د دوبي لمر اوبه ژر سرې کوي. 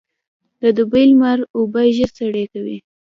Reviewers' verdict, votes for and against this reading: accepted, 2, 0